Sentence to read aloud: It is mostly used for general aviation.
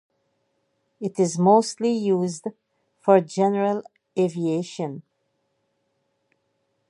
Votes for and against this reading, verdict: 2, 2, rejected